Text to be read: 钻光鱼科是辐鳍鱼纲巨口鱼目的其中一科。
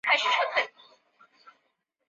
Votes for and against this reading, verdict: 1, 2, rejected